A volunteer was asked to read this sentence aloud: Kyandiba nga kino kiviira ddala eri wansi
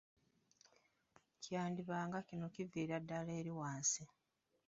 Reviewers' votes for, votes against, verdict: 1, 2, rejected